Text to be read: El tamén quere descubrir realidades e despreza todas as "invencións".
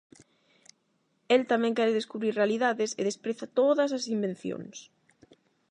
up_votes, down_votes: 8, 0